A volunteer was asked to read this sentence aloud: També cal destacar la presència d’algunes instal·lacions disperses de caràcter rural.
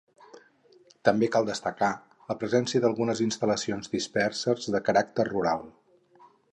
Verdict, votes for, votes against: accepted, 6, 0